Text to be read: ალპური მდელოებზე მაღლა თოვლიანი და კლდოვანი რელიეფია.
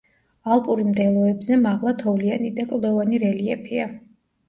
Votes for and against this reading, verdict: 1, 2, rejected